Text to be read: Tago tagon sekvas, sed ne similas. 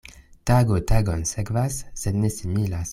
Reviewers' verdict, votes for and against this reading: accepted, 2, 0